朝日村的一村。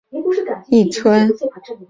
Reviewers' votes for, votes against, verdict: 0, 2, rejected